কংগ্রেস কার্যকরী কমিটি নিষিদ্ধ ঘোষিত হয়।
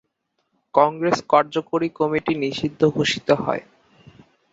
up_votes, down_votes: 0, 3